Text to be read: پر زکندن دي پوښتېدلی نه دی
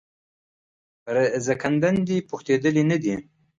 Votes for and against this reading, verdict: 2, 0, accepted